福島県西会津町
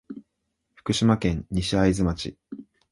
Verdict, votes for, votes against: accepted, 2, 0